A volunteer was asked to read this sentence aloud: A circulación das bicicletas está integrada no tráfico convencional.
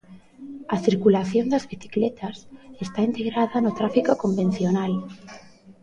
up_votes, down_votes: 0, 2